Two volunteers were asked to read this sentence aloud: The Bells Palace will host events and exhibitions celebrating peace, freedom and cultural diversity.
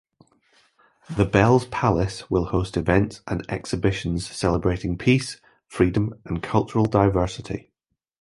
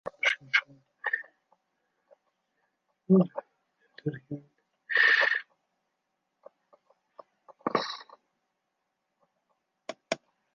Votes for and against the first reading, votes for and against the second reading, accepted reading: 2, 0, 0, 2, first